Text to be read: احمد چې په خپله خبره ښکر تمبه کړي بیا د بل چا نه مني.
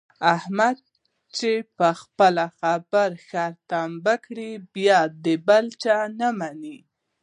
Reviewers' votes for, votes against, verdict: 0, 2, rejected